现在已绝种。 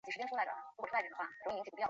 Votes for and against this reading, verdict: 1, 2, rejected